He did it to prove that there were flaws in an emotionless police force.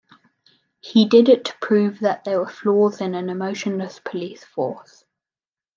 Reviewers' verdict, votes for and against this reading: accepted, 2, 0